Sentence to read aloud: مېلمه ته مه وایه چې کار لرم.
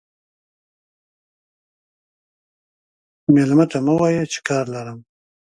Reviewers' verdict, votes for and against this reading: rejected, 0, 2